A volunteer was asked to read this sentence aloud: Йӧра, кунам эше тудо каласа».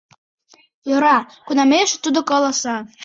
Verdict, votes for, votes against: rejected, 0, 2